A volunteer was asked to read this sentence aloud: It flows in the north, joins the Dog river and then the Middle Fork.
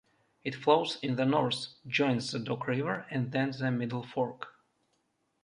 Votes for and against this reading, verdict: 2, 0, accepted